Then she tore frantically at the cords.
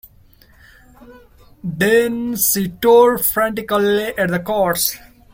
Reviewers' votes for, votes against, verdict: 1, 2, rejected